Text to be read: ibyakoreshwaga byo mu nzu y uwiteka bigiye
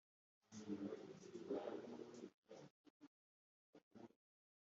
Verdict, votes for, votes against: rejected, 1, 2